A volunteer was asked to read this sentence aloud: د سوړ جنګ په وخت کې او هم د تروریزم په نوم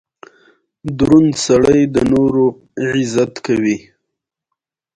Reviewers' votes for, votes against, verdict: 2, 0, accepted